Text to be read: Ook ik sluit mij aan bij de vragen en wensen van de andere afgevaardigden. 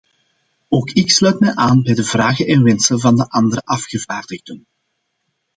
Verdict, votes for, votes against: accepted, 2, 0